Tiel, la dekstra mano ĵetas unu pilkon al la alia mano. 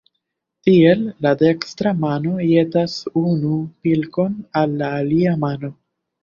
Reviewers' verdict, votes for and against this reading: rejected, 0, 2